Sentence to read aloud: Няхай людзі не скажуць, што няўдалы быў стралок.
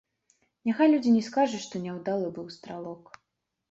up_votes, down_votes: 2, 0